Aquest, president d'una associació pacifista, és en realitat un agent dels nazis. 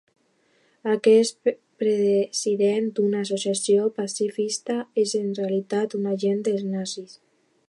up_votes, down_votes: 0, 2